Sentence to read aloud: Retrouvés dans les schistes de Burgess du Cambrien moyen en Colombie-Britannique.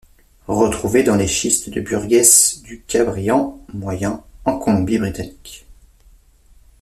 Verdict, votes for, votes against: rejected, 0, 2